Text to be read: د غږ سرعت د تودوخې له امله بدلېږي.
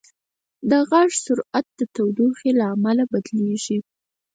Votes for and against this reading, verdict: 0, 4, rejected